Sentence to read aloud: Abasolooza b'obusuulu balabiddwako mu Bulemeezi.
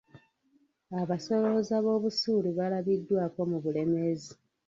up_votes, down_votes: 1, 2